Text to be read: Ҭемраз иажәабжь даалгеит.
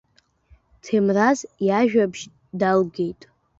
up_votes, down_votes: 2, 1